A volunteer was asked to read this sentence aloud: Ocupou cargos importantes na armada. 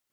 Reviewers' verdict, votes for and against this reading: rejected, 0, 4